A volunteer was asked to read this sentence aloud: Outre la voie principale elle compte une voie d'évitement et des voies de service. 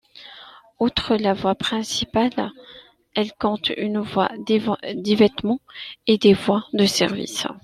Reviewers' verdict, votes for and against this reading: rejected, 1, 2